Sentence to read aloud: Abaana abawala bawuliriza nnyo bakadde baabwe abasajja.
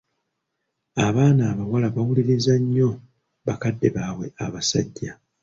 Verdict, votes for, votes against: accepted, 2, 0